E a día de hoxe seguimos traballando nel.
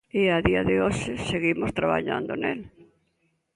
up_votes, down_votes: 2, 0